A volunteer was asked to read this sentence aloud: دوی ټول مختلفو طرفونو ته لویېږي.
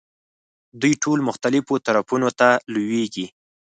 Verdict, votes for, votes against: accepted, 4, 0